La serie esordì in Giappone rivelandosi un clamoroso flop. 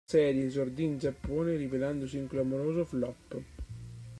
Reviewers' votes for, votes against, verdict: 1, 2, rejected